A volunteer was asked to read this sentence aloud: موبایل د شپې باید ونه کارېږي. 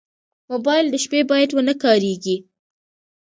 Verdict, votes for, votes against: accepted, 2, 0